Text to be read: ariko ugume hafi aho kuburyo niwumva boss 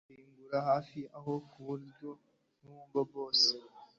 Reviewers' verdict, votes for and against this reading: rejected, 1, 2